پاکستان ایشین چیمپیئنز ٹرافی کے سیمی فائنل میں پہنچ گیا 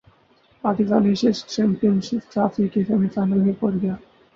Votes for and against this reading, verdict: 0, 4, rejected